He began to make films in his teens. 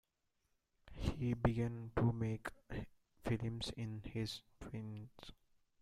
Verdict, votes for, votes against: accepted, 2, 0